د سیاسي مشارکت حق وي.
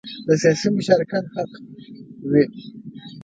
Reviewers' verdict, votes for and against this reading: rejected, 1, 2